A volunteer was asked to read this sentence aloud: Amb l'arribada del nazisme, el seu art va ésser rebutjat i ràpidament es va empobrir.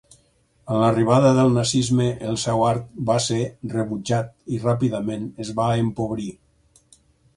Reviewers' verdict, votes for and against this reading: rejected, 2, 4